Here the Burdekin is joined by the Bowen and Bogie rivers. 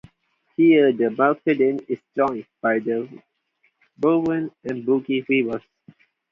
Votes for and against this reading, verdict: 0, 2, rejected